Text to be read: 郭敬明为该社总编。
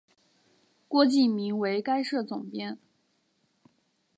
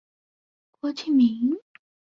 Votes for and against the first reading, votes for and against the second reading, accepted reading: 4, 0, 0, 2, first